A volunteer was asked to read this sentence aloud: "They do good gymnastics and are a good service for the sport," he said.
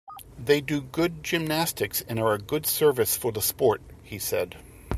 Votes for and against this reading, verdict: 2, 0, accepted